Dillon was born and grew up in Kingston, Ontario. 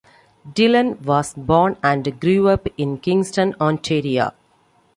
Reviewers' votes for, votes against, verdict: 2, 1, accepted